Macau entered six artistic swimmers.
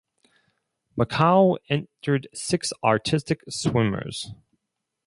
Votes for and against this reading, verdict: 2, 2, rejected